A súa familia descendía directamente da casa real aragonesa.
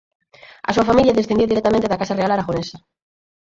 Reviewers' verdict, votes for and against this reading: rejected, 0, 4